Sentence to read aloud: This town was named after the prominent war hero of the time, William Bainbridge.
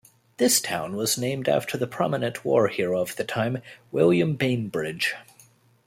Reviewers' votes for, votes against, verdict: 2, 1, accepted